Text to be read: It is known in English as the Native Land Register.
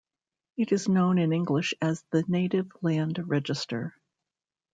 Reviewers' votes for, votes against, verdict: 0, 2, rejected